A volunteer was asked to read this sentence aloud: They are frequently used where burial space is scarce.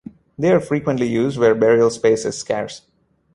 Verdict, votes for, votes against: accepted, 2, 1